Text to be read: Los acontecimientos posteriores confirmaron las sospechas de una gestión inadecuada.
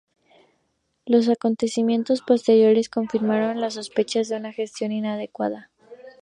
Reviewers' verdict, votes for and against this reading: accepted, 2, 0